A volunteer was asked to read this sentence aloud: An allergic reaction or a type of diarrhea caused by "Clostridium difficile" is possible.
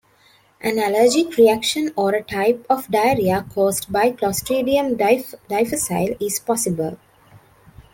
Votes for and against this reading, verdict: 0, 2, rejected